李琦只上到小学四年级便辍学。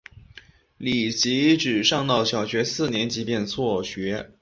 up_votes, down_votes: 7, 0